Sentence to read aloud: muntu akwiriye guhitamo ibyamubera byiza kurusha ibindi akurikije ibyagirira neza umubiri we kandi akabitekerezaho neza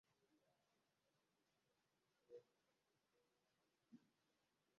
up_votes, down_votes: 0, 2